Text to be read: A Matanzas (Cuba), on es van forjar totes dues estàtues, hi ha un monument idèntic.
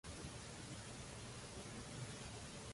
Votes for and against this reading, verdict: 0, 2, rejected